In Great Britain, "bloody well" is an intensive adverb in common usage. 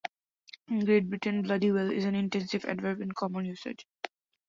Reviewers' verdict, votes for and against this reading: accepted, 2, 0